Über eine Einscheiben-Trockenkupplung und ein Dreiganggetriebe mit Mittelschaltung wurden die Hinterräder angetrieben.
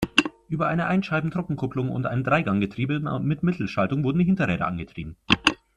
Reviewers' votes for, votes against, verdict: 0, 2, rejected